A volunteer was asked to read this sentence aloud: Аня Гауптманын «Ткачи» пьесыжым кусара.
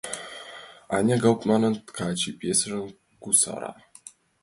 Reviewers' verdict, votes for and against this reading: accepted, 2, 1